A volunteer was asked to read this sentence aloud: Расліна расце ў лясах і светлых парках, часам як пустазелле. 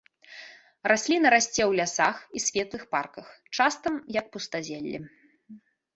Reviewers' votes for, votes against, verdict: 0, 2, rejected